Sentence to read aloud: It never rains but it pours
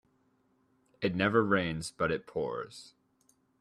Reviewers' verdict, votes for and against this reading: accepted, 2, 0